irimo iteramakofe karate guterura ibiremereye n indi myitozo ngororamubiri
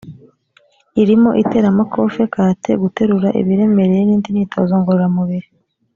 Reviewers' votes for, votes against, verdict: 1, 2, rejected